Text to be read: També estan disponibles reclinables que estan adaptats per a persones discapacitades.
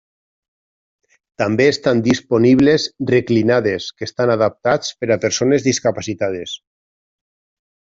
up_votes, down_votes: 1, 2